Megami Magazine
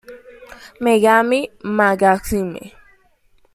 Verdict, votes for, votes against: rejected, 1, 2